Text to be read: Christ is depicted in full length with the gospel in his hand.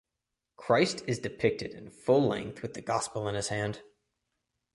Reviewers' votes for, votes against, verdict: 2, 0, accepted